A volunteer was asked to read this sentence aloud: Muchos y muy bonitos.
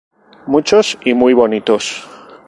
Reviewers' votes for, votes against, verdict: 2, 0, accepted